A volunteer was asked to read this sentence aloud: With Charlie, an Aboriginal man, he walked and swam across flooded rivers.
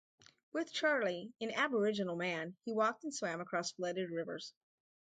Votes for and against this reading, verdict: 2, 0, accepted